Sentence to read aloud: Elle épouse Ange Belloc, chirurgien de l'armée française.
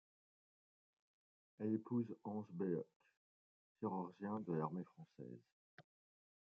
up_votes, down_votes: 1, 2